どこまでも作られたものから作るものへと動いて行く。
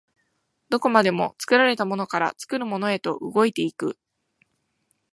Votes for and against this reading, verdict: 2, 0, accepted